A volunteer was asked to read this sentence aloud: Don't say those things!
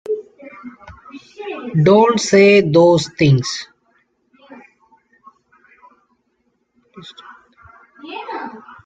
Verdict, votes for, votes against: rejected, 1, 2